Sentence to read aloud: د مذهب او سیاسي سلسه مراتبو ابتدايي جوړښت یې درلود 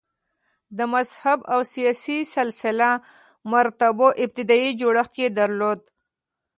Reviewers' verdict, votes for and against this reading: accepted, 2, 0